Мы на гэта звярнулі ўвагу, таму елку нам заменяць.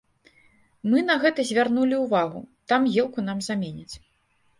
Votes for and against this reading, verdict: 0, 2, rejected